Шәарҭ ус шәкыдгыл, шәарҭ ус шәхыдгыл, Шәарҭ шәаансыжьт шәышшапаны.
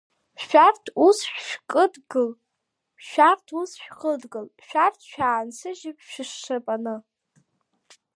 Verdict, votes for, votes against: accepted, 2, 0